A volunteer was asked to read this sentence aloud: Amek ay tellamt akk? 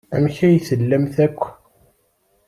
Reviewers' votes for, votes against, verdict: 2, 0, accepted